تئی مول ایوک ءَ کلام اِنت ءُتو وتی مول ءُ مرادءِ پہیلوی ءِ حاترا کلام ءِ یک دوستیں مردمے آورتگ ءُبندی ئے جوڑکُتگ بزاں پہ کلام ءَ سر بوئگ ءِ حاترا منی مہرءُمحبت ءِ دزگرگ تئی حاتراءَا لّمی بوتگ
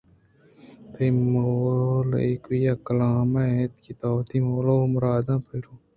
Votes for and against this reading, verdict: 0, 2, rejected